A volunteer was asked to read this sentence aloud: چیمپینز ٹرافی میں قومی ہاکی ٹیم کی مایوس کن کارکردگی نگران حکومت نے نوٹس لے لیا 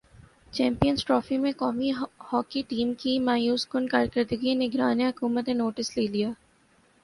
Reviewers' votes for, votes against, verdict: 3, 2, accepted